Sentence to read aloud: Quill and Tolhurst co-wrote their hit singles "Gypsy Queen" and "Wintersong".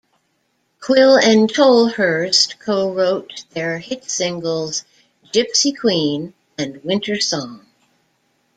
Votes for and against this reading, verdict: 2, 0, accepted